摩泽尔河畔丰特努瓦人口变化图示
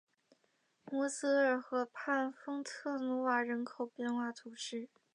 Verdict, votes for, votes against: accepted, 2, 0